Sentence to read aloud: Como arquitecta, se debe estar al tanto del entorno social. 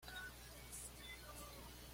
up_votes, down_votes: 0, 2